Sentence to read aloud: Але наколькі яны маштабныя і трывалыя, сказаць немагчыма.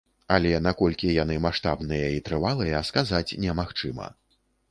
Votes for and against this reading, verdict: 2, 0, accepted